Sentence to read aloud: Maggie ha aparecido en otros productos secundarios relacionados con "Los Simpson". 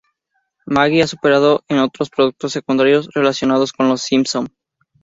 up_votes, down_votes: 0, 2